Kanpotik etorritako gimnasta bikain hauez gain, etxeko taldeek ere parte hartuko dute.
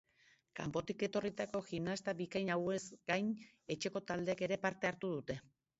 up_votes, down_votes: 0, 3